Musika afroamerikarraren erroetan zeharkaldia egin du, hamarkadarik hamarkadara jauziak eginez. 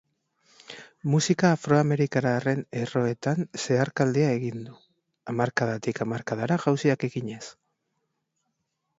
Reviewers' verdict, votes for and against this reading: rejected, 0, 2